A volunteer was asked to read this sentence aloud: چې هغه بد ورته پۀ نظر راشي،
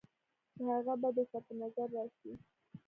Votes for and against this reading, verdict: 2, 1, accepted